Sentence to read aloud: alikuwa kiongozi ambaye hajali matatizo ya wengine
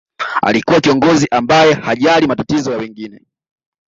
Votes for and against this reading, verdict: 2, 0, accepted